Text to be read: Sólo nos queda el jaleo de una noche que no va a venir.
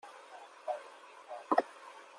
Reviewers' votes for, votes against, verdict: 0, 2, rejected